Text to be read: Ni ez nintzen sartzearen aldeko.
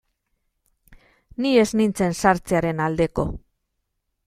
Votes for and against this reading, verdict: 2, 0, accepted